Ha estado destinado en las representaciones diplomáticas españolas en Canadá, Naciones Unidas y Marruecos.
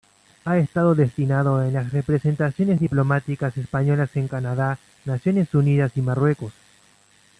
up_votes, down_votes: 2, 0